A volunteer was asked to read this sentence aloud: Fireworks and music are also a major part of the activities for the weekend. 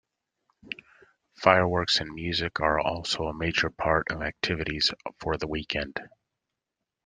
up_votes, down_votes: 2, 1